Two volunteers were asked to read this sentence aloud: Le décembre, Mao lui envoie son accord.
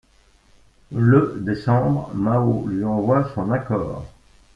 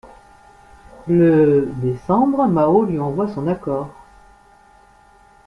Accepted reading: second